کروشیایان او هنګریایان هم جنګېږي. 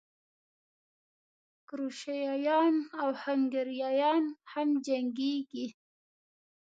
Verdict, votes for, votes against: accepted, 2, 0